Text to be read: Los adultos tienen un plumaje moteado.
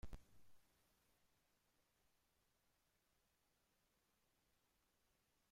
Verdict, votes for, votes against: rejected, 0, 2